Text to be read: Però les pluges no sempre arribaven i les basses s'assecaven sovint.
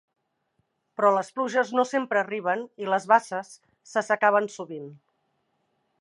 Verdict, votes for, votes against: rejected, 0, 2